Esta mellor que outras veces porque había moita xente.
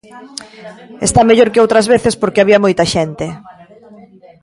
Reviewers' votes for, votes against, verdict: 0, 2, rejected